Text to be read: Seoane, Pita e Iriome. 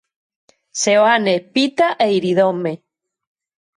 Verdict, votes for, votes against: rejected, 0, 2